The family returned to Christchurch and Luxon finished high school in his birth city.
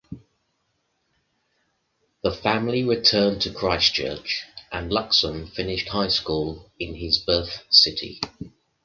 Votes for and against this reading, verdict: 2, 0, accepted